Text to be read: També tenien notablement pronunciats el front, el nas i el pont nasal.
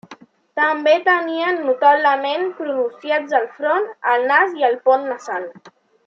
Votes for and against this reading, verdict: 0, 2, rejected